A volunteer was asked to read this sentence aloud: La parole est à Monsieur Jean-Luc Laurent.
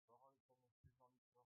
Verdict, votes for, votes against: rejected, 0, 2